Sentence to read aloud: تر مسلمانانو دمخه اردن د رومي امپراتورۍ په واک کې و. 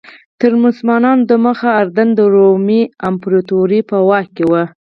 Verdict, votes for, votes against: accepted, 4, 2